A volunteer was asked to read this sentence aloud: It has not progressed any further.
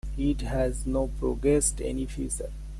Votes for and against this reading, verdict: 1, 2, rejected